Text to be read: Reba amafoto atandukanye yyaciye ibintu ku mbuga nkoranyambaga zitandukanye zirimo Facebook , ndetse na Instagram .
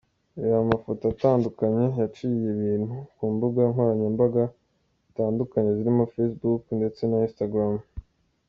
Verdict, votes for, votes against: accepted, 2, 0